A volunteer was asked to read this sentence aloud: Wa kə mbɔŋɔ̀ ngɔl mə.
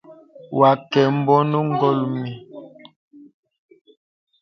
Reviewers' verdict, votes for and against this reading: rejected, 0, 2